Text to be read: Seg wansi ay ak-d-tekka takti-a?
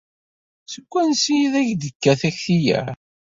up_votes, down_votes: 2, 0